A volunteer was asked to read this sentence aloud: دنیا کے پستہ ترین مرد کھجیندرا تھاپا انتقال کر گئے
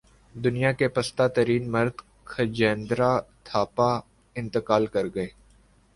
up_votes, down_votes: 2, 0